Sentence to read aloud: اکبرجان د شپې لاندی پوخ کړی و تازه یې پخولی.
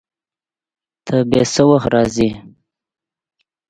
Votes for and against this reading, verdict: 0, 2, rejected